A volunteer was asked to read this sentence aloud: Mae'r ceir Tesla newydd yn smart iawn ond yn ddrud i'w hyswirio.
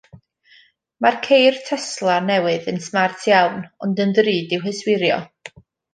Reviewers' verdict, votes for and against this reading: accepted, 2, 0